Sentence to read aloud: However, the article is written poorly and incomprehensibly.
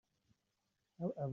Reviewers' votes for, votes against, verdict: 0, 2, rejected